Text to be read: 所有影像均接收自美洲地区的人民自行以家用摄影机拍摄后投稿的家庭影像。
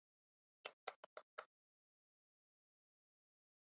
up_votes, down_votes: 2, 4